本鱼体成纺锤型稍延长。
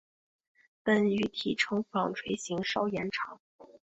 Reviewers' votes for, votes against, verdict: 4, 0, accepted